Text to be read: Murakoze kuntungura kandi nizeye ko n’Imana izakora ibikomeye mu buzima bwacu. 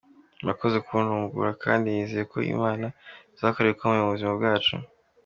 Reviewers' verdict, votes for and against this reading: accepted, 2, 1